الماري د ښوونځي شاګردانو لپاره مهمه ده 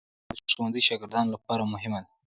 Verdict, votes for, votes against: accepted, 2, 1